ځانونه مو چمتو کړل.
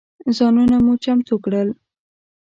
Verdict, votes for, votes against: accepted, 2, 0